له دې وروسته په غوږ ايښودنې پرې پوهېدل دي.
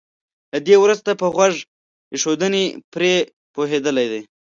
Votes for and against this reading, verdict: 0, 2, rejected